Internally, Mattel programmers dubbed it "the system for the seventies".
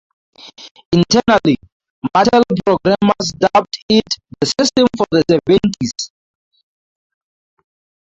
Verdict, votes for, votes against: rejected, 2, 2